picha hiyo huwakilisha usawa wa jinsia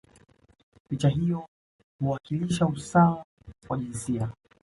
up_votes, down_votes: 2, 0